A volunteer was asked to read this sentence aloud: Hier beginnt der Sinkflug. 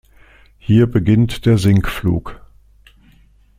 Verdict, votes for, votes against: accepted, 2, 0